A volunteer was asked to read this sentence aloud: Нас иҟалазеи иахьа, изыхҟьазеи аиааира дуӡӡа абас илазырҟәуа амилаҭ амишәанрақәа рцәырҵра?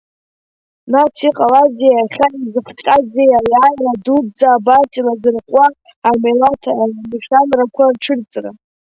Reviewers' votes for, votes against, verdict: 1, 2, rejected